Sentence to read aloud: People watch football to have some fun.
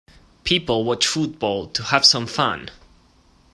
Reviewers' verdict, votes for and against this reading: accepted, 2, 0